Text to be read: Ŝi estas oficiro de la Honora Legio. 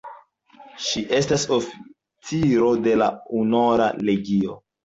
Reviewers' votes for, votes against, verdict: 0, 3, rejected